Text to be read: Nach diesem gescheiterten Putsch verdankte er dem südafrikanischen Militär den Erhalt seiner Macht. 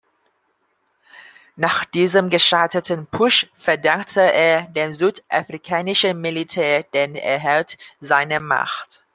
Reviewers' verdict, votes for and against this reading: accepted, 2, 0